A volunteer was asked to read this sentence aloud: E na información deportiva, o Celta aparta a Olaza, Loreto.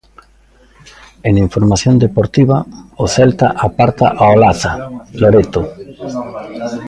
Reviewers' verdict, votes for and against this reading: accepted, 2, 0